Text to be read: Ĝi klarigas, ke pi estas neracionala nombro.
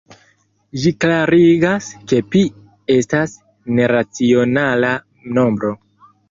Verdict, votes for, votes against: accepted, 2, 0